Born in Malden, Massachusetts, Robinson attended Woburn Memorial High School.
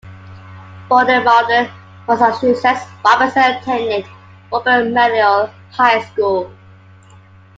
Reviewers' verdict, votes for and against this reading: rejected, 1, 2